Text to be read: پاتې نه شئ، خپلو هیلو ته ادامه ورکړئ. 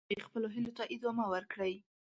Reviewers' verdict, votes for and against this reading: rejected, 0, 6